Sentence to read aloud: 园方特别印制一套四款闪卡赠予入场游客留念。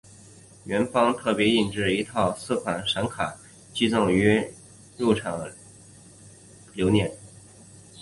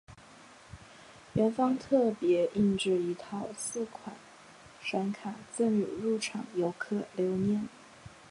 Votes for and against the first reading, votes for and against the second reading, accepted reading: 0, 2, 3, 0, second